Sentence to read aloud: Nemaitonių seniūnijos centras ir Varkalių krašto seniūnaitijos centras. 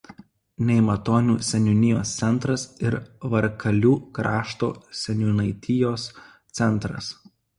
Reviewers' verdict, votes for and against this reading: accepted, 2, 0